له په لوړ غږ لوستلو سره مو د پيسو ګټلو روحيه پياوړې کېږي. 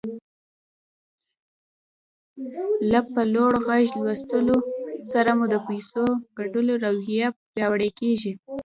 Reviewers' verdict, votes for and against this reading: rejected, 1, 2